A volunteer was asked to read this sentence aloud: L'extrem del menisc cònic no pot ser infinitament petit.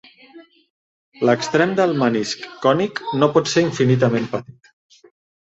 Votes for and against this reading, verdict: 2, 0, accepted